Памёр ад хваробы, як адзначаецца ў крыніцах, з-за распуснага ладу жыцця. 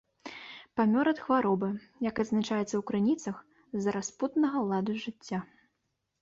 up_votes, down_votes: 0, 3